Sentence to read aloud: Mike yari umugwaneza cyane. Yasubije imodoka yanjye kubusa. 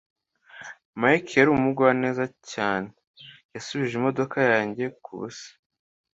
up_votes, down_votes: 2, 0